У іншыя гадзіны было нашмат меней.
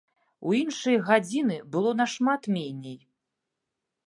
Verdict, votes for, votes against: accepted, 3, 0